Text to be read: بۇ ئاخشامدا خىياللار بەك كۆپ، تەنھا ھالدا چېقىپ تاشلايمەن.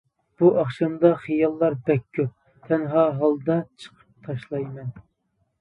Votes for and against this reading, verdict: 1, 2, rejected